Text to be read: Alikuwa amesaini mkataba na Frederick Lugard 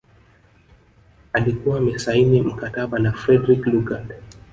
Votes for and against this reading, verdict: 0, 2, rejected